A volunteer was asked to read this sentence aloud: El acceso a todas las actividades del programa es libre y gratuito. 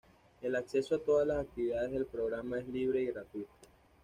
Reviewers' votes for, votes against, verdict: 2, 0, accepted